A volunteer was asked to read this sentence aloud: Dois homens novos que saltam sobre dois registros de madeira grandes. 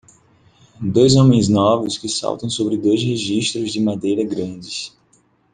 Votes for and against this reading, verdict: 2, 0, accepted